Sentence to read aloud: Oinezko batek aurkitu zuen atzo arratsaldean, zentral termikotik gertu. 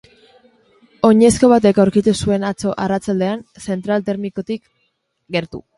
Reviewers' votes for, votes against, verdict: 5, 0, accepted